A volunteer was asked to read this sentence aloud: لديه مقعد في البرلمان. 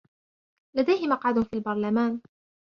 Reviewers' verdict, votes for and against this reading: accepted, 2, 0